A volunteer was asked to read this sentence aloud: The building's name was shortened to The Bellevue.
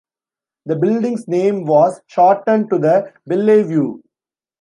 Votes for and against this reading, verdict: 1, 2, rejected